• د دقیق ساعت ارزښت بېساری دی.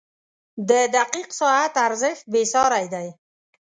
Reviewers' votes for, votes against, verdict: 2, 0, accepted